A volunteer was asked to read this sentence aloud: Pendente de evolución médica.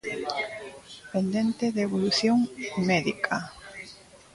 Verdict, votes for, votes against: accepted, 2, 0